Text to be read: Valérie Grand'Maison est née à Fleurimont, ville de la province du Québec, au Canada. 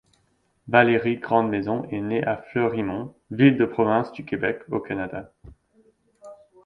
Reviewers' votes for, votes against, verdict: 2, 0, accepted